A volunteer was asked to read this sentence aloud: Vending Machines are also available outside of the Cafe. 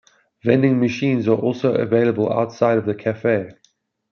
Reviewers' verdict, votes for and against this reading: accepted, 2, 0